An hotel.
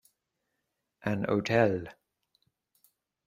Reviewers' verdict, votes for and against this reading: accepted, 2, 0